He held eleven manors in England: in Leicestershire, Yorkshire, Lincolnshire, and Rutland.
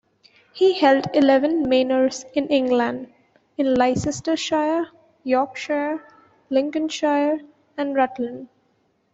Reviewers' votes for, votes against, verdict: 0, 2, rejected